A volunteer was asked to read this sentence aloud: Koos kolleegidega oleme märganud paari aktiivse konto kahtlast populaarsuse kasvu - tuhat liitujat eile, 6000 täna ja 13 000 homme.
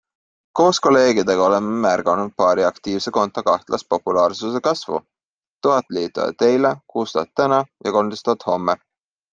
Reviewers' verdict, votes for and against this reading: rejected, 0, 2